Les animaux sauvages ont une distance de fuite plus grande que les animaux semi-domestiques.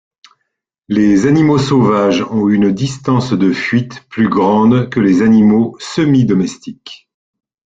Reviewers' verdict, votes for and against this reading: accepted, 2, 1